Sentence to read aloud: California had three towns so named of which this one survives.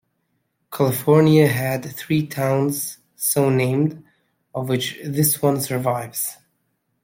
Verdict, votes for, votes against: accepted, 2, 0